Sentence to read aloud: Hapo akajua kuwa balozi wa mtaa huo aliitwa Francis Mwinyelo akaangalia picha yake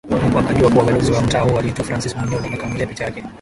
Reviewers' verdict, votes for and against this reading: rejected, 0, 2